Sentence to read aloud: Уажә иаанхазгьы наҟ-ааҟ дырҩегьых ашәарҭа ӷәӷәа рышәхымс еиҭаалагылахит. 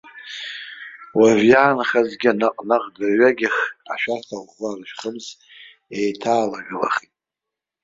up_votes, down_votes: 0, 3